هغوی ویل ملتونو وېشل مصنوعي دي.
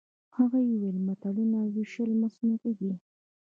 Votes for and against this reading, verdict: 1, 2, rejected